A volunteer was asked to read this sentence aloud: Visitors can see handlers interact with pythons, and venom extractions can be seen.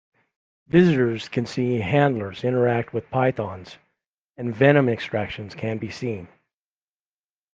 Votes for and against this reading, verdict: 2, 0, accepted